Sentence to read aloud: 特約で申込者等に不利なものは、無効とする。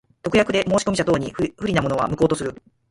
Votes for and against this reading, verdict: 2, 4, rejected